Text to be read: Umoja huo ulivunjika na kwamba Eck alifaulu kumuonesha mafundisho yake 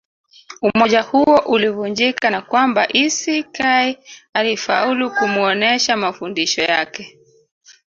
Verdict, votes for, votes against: rejected, 0, 2